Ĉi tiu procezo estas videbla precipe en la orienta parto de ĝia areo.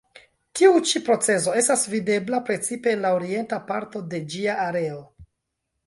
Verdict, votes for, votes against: rejected, 1, 3